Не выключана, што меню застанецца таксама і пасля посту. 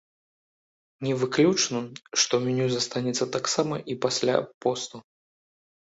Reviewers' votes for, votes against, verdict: 0, 2, rejected